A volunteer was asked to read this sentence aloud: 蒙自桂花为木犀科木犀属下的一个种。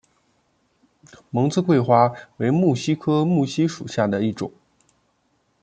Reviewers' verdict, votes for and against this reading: rejected, 1, 2